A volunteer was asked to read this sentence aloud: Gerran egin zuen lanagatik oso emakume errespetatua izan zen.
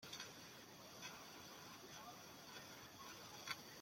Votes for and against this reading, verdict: 0, 2, rejected